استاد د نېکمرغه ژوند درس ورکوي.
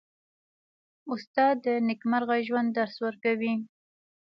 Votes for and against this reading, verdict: 1, 2, rejected